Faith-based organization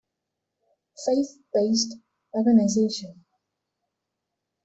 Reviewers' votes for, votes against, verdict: 1, 2, rejected